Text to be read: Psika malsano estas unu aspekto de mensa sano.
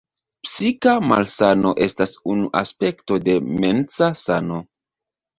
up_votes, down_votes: 0, 2